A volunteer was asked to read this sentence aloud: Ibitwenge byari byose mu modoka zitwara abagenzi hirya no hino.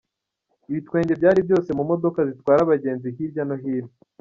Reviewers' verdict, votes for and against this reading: accepted, 2, 0